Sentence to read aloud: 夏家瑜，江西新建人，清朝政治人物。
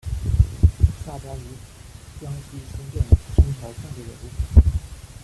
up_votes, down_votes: 0, 2